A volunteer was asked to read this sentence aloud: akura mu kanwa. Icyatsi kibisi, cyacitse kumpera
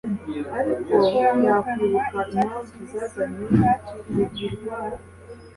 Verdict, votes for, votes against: rejected, 1, 2